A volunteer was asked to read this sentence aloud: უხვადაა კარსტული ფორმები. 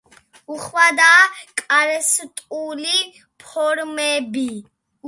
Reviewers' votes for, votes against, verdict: 2, 0, accepted